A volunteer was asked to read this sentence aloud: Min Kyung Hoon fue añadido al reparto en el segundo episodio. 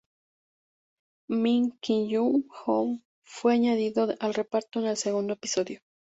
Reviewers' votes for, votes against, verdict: 0, 2, rejected